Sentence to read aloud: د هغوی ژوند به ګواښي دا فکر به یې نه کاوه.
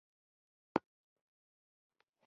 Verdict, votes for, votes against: rejected, 0, 2